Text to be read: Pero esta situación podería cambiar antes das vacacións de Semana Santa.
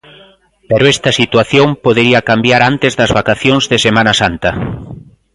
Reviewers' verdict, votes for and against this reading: accepted, 2, 0